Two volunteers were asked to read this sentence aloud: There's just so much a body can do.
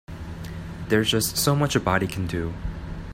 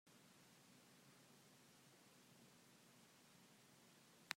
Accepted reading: first